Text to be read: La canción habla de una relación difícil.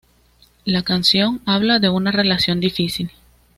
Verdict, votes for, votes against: accepted, 2, 0